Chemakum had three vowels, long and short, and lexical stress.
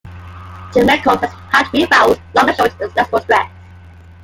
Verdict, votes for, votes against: rejected, 1, 2